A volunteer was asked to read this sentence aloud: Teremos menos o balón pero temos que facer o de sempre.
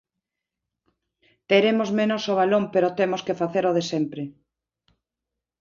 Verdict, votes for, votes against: accepted, 5, 0